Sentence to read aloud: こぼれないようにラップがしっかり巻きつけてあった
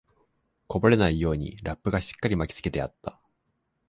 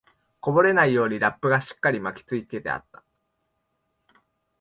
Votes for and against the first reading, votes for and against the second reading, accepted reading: 2, 0, 0, 2, first